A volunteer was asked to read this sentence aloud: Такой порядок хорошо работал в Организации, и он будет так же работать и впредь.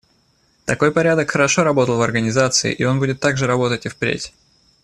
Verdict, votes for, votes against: accepted, 2, 0